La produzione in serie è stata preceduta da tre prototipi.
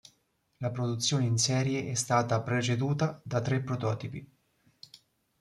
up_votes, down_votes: 2, 0